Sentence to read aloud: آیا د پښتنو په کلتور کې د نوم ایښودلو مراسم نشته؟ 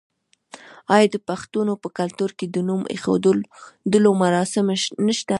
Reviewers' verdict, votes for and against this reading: accepted, 2, 0